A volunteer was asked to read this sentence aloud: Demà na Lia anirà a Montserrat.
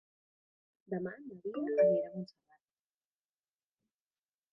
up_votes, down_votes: 0, 2